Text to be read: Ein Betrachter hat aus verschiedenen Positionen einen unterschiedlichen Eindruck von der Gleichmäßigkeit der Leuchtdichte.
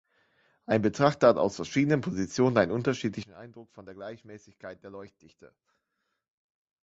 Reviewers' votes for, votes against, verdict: 2, 1, accepted